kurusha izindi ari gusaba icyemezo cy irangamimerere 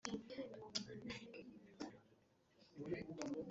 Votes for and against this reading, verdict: 1, 2, rejected